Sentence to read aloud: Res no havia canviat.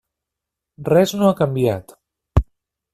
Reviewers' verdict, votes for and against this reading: rejected, 0, 2